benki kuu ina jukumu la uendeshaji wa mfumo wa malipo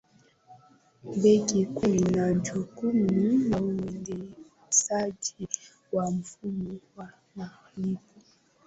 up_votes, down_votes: 2, 0